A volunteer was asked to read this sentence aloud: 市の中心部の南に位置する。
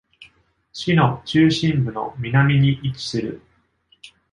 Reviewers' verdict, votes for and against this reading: accepted, 2, 0